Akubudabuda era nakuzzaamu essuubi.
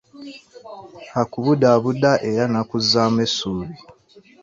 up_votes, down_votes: 1, 2